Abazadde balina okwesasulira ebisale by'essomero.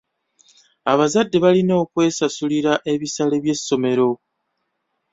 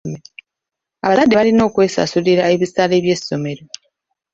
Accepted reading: first